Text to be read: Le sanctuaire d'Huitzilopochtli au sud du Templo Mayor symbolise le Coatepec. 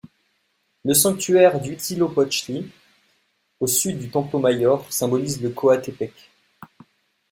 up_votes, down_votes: 2, 0